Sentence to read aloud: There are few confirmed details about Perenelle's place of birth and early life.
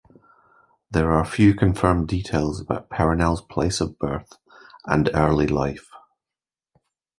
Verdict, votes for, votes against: accepted, 2, 0